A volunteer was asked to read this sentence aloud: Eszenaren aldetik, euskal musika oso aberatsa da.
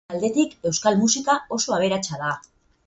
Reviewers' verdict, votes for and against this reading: rejected, 0, 4